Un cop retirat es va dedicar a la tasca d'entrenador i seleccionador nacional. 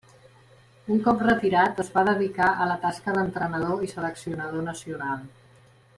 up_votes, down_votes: 3, 0